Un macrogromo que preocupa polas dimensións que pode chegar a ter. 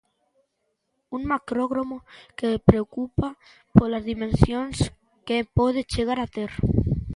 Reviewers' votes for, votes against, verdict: 0, 2, rejected